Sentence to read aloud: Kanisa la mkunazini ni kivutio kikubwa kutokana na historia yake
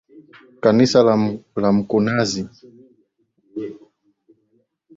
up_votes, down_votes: 0, 3